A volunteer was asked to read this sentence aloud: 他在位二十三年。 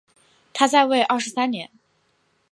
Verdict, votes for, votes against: accepted, 2, 0